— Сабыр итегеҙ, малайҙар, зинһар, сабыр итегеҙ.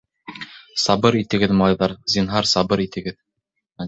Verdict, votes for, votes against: accepted, 2, 0